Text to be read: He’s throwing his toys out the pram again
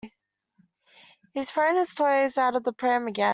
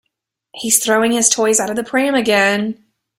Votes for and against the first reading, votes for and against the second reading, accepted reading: 0, 2, 2, 1, second